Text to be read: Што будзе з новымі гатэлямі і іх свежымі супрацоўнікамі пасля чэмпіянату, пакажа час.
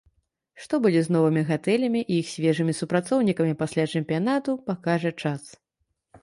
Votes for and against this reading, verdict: 2, 0, accepted